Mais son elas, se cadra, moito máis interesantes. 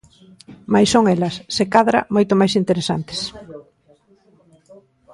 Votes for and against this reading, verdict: 0, 2, rejected